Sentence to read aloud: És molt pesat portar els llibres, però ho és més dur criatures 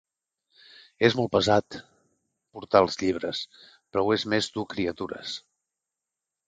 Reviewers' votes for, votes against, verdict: 4, 0, accepted